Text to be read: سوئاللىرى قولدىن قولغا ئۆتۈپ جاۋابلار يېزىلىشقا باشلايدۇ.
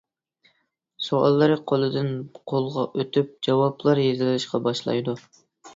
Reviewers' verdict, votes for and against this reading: accepted, 2, 0